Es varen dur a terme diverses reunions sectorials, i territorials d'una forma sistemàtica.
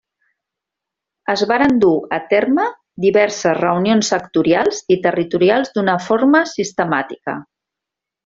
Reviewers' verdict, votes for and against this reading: accepted, 3, 0